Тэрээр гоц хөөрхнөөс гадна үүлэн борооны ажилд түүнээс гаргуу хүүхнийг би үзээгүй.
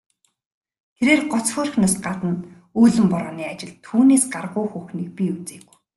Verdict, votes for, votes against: accepted, 2, 0